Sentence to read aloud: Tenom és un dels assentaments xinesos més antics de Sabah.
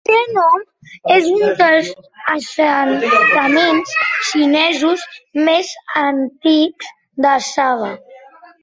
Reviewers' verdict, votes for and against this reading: rejected, 0, 2